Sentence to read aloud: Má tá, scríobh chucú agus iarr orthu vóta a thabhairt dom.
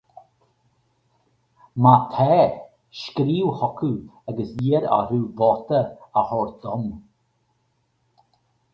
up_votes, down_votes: 4, 0